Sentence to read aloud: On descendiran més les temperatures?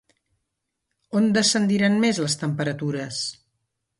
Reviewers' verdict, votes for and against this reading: accepted, 2, 0